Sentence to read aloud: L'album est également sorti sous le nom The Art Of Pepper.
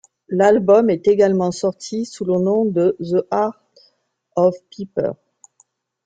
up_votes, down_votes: 1, 2